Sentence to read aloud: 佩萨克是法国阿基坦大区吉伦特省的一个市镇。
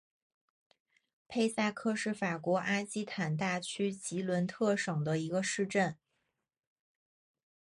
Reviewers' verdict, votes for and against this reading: accepted, 2, 0